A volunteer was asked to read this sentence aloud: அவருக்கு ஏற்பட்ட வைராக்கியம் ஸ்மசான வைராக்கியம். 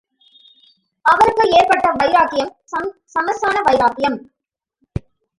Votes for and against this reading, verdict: 1, 2, rejected